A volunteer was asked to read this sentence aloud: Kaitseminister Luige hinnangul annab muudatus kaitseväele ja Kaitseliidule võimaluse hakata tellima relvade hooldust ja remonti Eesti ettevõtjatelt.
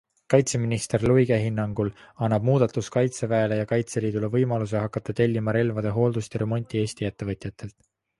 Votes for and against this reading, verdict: 3, 0, accepted